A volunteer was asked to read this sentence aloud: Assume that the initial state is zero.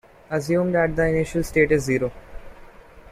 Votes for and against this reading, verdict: 0, 2, rejected